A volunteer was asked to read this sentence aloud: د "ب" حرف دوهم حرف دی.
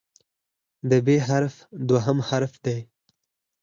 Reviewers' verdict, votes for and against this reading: rejected, 0, 4